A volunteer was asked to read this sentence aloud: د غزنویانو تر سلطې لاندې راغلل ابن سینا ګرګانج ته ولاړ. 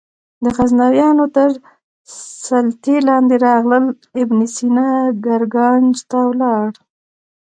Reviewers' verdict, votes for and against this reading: accepted, 2, 0